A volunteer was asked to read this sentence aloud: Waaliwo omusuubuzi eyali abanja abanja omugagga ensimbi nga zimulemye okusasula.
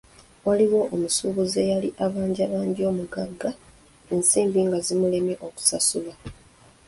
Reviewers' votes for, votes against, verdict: 0, 2, rejected